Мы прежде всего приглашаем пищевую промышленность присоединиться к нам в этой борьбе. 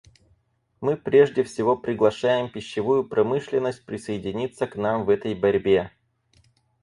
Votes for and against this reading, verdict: 2, 2, rejected